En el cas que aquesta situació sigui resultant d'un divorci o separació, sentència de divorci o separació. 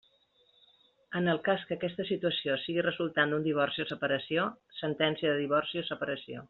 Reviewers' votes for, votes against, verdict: 2, 0, accepted